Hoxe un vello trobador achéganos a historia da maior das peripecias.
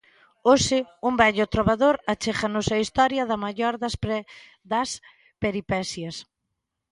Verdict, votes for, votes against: rejected, 0, 2